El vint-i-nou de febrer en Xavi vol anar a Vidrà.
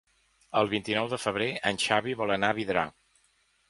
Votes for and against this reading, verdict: 3, 0, accepted